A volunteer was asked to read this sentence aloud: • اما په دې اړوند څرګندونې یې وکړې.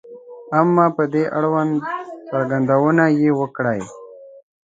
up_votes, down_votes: 0, 3